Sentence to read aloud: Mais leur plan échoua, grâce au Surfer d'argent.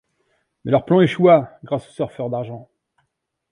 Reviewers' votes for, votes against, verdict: 1, 2, rejected